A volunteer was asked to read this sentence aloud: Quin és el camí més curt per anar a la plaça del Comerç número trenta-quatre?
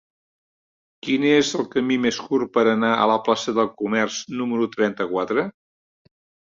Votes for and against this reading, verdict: 3, 0, accepted